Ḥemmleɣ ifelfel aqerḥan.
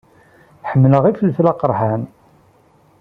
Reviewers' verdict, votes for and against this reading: accepted, 2, 0